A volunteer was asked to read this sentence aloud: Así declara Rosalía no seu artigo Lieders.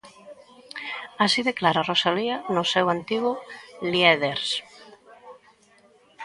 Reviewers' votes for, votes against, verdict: 0, 2, rejected